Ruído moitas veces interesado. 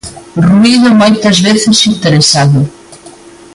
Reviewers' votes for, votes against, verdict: 1, 2, rejected